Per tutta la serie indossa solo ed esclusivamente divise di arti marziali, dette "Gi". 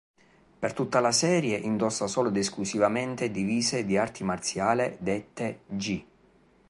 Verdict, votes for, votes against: rejected, 1, 2